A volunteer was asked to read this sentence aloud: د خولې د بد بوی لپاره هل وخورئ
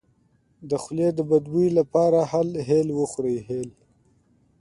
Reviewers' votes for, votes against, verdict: 2, 1, accepted